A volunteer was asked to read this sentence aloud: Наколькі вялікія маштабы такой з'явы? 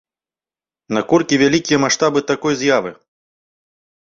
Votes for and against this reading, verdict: 2, 0, accepted